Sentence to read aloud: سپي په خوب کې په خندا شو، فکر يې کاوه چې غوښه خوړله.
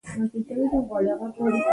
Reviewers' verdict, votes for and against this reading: rejected, 0, 2